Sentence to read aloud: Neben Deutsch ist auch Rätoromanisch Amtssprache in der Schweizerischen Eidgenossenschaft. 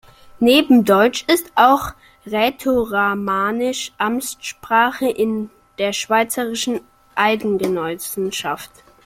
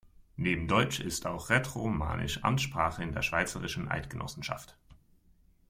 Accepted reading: second